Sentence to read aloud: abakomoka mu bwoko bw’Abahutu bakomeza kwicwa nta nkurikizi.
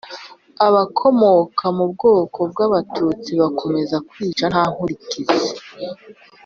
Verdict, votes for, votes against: rejected, 1, 2